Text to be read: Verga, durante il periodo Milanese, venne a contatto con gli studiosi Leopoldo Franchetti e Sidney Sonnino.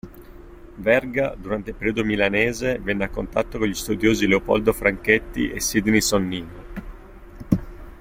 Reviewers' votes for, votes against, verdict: 2, 0, accepted